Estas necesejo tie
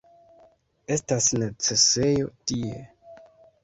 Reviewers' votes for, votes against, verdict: 1, 2, rejected